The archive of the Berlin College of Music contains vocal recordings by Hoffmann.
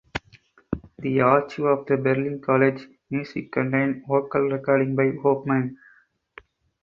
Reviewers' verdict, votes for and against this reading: rejected, 0, 2